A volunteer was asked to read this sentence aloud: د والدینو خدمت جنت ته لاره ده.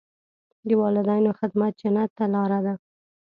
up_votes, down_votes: 2, 0